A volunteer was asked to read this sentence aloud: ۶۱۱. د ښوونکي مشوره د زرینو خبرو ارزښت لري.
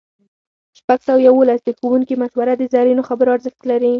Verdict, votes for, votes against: rejected, 0, 2